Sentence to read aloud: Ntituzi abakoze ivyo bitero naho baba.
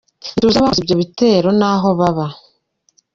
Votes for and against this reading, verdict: 0, 2, rejected